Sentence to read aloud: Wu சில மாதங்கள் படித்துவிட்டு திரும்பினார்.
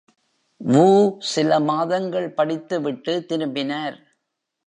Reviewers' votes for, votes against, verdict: 2, 0, accepted